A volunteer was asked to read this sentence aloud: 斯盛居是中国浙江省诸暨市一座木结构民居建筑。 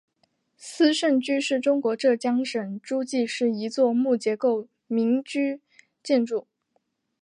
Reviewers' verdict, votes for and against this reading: accepted, 2, 1